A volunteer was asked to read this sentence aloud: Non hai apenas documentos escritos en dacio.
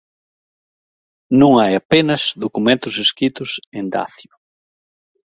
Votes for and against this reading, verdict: 2, 0, accepted